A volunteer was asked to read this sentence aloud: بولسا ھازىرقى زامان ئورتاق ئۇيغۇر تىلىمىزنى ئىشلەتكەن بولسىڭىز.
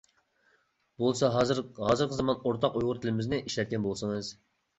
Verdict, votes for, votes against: rejected, 0, 2